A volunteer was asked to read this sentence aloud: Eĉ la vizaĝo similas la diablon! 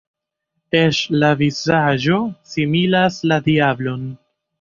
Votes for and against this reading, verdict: 1, 2, rejected